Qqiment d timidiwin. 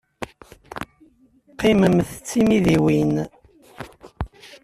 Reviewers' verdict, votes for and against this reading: rejected, 1, 2